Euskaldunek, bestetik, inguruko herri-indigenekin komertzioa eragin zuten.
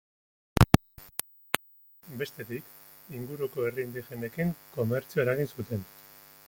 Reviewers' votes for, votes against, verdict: 0, 2, rejected